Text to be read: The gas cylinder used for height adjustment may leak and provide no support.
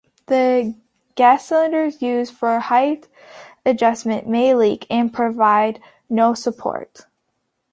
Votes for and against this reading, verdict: 2, 1, accepted